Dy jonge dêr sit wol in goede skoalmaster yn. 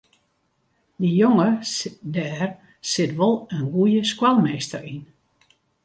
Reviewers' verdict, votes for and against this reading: rejected, 0, 2